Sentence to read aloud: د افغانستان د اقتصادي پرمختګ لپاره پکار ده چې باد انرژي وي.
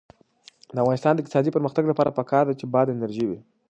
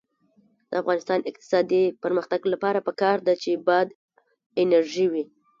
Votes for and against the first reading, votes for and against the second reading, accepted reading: 2, 0, 1, 2, first